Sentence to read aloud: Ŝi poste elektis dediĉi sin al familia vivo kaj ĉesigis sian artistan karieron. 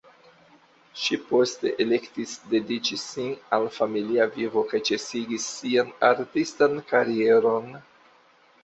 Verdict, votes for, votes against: accepted, 2, 0